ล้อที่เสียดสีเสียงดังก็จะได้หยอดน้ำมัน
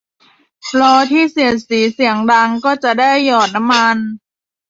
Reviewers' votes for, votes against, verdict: 1, 2, rejected